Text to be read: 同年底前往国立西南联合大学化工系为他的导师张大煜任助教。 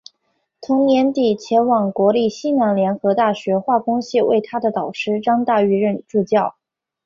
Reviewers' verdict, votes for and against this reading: accepted, 2, 0